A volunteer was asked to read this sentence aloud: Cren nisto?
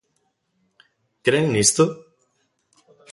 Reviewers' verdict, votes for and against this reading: accepted, 2, 0